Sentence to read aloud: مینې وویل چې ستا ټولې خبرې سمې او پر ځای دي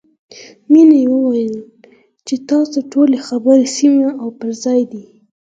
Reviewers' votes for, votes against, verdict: 4, 2, accepted